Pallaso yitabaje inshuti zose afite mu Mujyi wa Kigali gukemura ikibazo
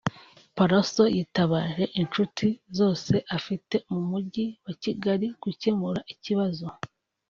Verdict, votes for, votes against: accepted, 2, 0